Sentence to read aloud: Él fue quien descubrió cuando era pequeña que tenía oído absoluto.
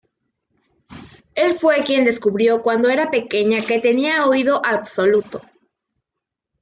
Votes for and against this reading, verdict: 2, 0, accepted